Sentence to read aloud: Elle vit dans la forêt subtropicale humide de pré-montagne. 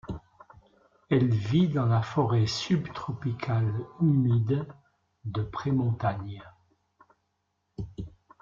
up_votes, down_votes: 0, 2